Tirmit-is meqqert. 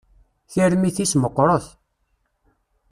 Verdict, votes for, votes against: rejected, 1, 2